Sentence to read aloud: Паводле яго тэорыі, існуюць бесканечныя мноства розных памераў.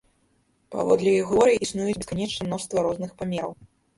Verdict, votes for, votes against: rejected, 0, 2